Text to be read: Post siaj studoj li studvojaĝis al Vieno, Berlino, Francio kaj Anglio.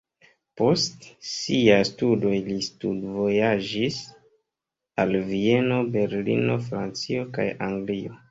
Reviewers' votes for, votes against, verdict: 2, 1, accepted